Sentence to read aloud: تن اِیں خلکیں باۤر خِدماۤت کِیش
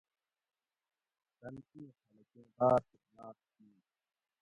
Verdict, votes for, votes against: rejected, 0, 2